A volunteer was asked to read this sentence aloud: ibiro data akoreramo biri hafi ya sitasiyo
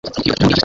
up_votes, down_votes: 0, 2